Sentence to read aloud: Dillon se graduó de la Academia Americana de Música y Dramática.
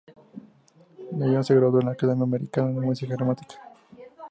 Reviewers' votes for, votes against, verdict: 2, 0, accepted